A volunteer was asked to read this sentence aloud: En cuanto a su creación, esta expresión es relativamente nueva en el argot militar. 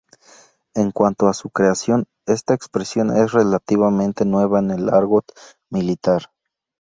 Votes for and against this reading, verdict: 2, 0, accepted